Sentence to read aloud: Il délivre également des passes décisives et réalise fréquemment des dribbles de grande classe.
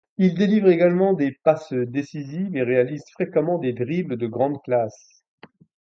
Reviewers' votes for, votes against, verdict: 3, 0, accepted